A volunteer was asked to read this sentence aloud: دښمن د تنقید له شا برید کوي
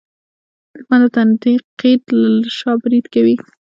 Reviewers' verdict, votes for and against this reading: rejected, 0, 2